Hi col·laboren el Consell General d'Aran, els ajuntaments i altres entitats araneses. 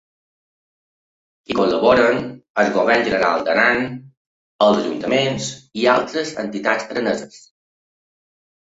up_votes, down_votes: 1, 2